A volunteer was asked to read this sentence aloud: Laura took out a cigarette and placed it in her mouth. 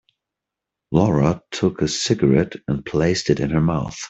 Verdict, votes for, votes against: rejected, 0, 3